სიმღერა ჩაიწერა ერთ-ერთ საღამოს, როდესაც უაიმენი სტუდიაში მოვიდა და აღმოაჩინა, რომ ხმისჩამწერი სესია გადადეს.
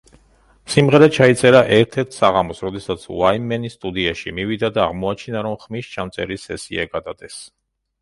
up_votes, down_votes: 1, 2